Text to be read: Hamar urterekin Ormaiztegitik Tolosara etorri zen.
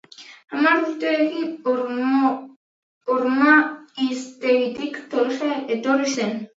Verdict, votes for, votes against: rejected, 0, 6